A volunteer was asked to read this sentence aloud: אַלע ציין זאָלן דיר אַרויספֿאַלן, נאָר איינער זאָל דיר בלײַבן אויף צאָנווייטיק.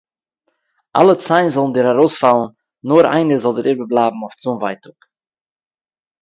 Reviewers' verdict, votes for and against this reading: rejected, 0, 2